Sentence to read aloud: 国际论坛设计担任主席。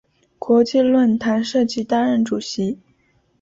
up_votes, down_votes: 8, 0